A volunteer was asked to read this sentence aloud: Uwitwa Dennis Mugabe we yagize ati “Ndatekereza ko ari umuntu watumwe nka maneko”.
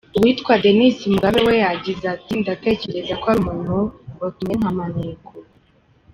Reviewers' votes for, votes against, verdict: 1, 3, rejected